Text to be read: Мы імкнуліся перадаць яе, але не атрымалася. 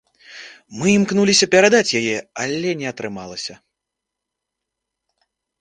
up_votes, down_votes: 2, 0